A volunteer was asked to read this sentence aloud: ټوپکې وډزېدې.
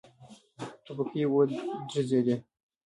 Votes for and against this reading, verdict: 0, 2, rejected